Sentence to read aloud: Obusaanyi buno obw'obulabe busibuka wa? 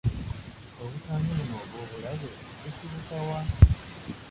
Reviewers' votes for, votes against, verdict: 0, 2, rejected